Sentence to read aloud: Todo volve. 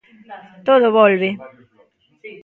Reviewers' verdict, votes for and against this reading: rejected, 1, 2